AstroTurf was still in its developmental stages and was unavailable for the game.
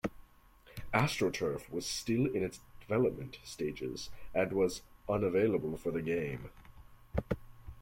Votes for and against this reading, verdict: 2, 0, accepted